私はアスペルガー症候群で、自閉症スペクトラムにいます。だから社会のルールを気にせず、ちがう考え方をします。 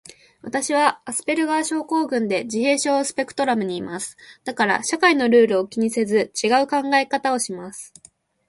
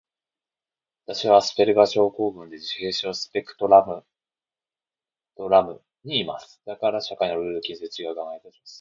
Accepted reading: first